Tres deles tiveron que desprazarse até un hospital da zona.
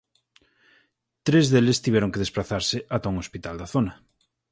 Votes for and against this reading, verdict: 0, 4, rejected